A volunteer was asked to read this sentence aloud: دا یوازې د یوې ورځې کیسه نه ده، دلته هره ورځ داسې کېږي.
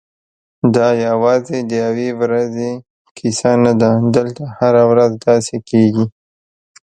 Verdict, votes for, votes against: accepted, 2, 0